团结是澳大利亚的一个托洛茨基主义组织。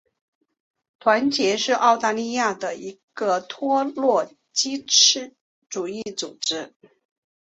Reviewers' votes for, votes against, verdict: 2, 0, accepted